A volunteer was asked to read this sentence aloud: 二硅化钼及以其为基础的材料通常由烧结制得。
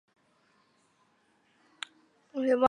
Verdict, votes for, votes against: rejected, 0, 4